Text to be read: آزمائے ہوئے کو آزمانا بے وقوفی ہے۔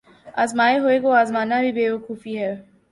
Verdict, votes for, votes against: rejected, 1, 2